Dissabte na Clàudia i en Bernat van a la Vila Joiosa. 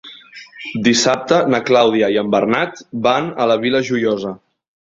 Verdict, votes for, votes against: accepted, 3, 0